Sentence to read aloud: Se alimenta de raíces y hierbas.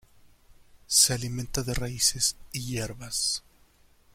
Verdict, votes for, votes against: accepted, 2, 0